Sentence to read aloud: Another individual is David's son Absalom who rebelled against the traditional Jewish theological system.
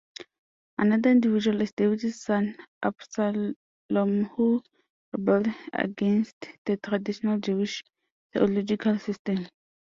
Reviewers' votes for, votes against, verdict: 0, 2, rejected